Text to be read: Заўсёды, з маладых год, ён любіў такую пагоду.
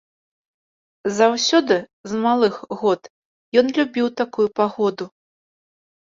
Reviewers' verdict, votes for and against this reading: rejected, 1, 2